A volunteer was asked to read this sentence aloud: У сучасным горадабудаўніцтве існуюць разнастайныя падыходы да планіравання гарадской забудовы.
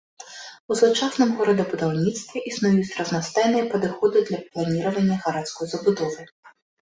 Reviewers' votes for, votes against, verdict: 0, 2, rejected